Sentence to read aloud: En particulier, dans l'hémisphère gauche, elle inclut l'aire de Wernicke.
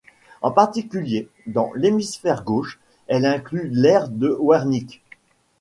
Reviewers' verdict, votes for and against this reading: accepted, 2, 0